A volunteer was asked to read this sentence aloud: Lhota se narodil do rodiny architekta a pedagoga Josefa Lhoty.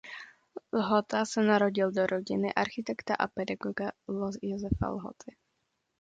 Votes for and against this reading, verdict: 0, 2, rejected